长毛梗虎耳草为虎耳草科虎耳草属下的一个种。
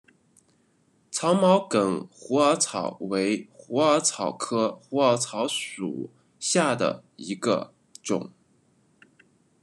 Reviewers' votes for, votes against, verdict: 2, 0, accepted